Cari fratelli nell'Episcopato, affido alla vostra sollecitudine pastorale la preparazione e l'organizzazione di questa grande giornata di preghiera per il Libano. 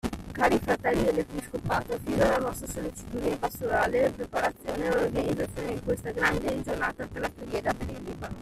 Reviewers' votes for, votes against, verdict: 1, 2, rejected